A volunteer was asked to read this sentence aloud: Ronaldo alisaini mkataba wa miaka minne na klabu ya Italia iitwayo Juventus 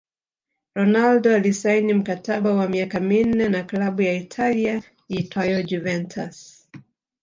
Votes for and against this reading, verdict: 1, 2, rejected